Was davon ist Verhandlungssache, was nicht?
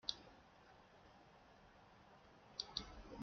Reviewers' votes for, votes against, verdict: 0, 2, rejected